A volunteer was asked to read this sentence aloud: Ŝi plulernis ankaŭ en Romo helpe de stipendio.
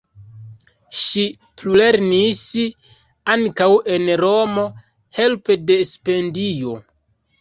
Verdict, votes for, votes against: rejected, 0, 2